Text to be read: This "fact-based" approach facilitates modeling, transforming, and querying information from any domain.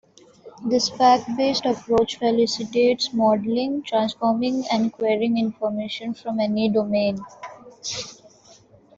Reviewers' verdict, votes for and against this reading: accepted, 2, 1